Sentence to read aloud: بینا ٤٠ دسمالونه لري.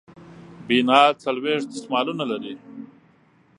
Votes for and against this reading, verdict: 0, 2, rejected